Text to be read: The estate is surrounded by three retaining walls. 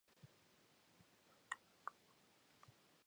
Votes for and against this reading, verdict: 0, 2, rejected